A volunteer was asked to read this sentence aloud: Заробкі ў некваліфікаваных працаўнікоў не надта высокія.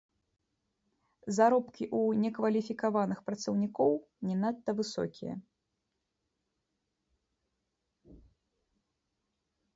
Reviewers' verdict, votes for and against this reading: rejected, 0, 2